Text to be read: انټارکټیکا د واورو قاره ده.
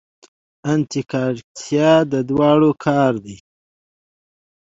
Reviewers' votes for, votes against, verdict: 1, 2, rejected